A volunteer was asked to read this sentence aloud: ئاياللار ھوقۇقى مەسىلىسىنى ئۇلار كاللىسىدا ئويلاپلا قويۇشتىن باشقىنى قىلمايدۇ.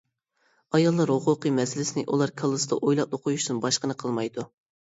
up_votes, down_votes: 2, 0